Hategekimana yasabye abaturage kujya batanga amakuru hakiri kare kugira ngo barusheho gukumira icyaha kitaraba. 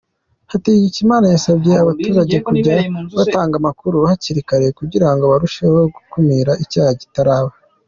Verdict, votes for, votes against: accepted, 2, 1